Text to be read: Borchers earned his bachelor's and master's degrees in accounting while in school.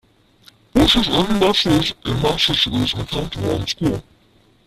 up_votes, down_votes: 0, 2